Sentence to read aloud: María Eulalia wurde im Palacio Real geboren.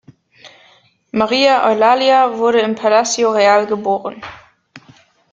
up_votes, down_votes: 2, 0